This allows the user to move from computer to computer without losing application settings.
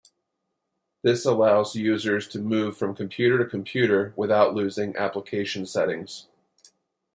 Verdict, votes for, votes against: rejected, 1, 2